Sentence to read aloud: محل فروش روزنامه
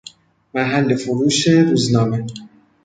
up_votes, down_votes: 2, 0